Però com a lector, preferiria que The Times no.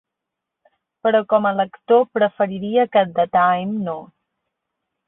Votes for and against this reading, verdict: 1, 2, rejected